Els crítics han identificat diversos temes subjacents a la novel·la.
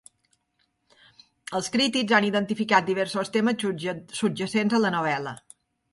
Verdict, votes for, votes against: rejected, 0, 2